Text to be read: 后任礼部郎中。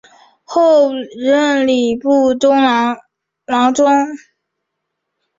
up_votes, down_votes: 2, 0